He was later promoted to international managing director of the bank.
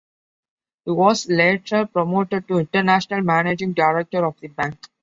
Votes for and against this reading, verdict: 2, 0, accepted